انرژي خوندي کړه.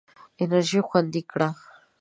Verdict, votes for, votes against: accepted, 3, 0